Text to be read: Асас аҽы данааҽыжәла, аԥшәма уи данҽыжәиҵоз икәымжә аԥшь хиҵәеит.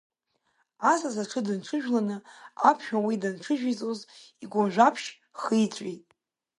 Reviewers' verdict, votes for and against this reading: rejected, 0, 2